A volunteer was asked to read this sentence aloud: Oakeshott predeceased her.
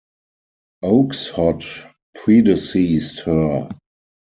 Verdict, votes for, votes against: accepted, 4, 2